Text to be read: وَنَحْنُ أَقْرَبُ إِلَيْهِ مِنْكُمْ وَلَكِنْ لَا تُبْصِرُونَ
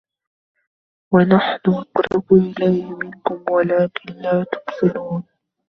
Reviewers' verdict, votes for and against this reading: rejected, 0, 2